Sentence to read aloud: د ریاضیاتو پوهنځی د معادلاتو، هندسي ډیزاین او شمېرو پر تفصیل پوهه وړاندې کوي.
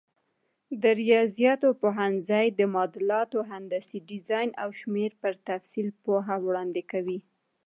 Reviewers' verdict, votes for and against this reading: accepted, 2, 0